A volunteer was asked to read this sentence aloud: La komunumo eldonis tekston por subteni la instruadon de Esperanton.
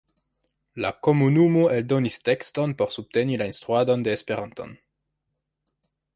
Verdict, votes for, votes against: accepted, 3, 1